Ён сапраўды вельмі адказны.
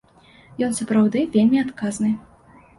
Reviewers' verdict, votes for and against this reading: accepted, 2, 0